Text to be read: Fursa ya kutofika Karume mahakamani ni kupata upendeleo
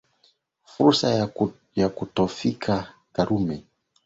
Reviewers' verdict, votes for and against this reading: rejected, 0, 3